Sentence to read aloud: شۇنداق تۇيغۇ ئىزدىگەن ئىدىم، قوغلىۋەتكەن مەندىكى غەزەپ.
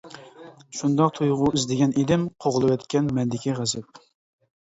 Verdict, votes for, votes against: accepted, 2, 0